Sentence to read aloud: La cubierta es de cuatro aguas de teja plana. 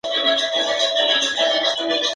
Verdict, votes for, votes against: rejected, 0, 4